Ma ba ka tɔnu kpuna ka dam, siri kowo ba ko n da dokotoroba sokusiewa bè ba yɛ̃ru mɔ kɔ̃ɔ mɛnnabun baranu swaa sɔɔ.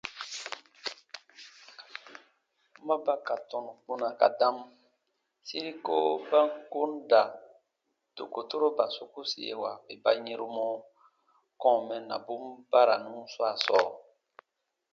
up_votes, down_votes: 2, 0